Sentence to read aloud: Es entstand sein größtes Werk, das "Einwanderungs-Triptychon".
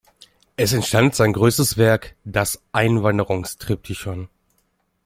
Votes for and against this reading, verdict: 2, 0, accepted